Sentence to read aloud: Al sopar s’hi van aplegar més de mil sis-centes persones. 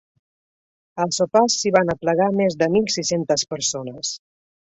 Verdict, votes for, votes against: accepted, 3, 0